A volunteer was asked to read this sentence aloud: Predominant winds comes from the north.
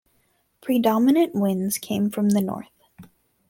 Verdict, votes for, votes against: rejected, 1, 2